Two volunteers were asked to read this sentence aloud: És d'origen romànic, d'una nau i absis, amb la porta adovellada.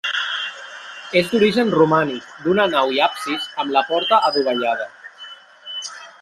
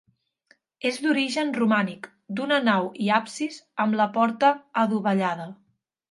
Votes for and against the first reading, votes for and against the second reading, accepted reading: 1, 2, 2, 0, second